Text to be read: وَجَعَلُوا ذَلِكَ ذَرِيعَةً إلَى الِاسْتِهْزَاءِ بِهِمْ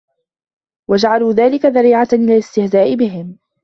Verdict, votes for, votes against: accepted, 2, 1